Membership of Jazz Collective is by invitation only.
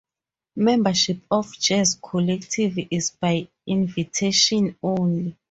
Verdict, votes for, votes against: accepted, 4, 2